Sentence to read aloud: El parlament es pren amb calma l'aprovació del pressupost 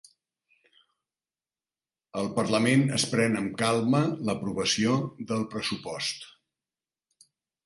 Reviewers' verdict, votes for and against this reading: accepted, 3, 0